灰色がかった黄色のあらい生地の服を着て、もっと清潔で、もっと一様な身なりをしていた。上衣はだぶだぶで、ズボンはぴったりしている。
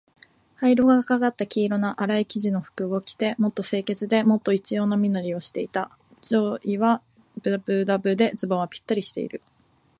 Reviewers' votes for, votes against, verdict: 3, 3, rejected